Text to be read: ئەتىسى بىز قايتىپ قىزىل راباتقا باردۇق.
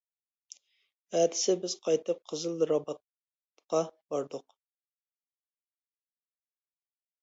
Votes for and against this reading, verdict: 1, 2, rejected